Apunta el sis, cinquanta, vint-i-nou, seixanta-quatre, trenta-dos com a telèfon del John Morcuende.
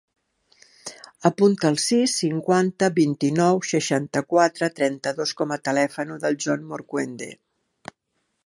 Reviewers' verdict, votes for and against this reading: rejected, 1, 3